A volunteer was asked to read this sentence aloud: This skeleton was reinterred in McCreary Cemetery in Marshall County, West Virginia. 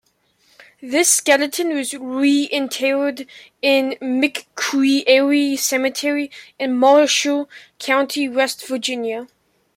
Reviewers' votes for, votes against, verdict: 0, 2, rejected